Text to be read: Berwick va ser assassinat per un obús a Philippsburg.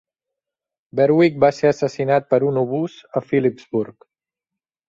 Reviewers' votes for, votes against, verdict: 2, 0, accepted